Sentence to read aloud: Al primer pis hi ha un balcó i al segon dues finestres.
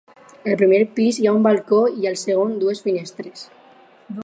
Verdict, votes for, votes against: accepted, 4, 0